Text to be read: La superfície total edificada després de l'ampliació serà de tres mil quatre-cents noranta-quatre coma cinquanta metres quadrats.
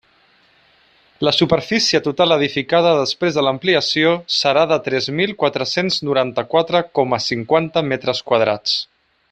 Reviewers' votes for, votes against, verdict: 3, 0, accepted